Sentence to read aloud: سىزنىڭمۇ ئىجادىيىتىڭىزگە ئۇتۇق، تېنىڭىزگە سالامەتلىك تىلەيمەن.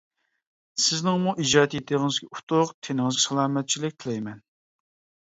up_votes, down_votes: 0, 2